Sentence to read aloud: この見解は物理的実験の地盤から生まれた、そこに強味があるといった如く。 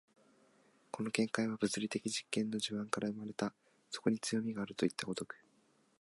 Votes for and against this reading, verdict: 2, 0, accepted